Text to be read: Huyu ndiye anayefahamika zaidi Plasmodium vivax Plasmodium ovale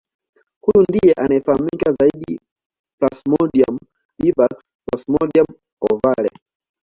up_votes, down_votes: 2, 0